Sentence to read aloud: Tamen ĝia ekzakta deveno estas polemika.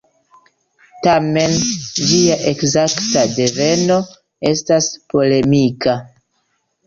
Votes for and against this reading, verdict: 0, 2, rejected